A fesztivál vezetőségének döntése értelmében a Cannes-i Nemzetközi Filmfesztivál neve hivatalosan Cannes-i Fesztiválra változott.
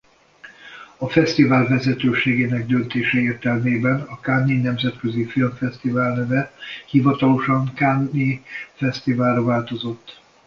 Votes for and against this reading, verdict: 2, 0, accepted